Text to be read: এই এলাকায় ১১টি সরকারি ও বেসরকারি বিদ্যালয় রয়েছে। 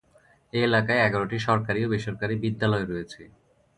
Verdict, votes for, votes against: rejected, 0, 2